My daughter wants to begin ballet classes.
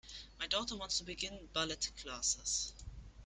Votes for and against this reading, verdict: 1, 2, rejected